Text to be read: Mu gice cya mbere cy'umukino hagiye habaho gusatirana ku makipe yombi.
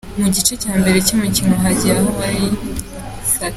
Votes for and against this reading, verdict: 0, 3, rejected